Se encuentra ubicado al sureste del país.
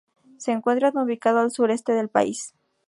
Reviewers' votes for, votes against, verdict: 2, 0, accepted